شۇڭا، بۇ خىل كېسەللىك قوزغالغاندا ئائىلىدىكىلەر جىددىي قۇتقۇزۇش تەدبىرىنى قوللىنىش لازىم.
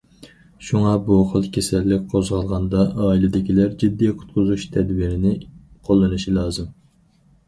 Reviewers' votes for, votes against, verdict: 4, 0, accepted